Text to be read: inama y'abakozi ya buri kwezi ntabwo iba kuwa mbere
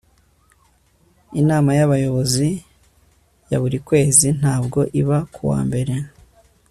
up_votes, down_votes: 1, 2